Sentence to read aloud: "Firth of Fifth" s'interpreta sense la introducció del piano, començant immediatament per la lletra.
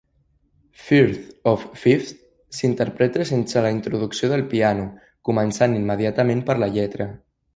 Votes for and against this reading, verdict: 3, 0, accepted